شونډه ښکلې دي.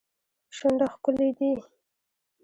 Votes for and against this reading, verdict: 2, 0, accepted